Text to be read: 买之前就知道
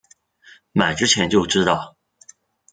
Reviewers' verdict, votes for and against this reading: accepted, 2, 0